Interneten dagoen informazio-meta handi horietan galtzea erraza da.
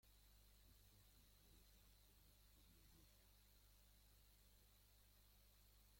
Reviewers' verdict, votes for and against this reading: rejected, 0, 4